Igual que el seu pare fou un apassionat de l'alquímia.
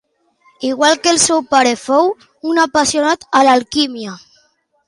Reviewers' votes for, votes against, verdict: 0, 2, rejected